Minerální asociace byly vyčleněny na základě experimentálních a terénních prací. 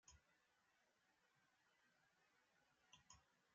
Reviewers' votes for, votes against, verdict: 0, 2, rejected